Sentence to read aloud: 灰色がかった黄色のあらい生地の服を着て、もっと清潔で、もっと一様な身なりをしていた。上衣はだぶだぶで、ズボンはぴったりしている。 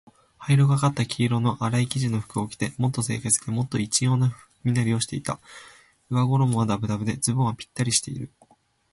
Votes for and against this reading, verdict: 2, 0, accepted